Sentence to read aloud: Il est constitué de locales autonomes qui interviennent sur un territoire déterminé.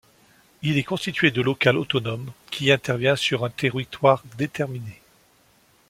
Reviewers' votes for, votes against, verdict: 0, 2, rejected